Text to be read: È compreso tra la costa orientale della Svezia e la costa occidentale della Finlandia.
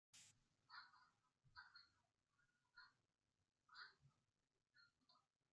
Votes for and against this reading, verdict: 0, 2, rejected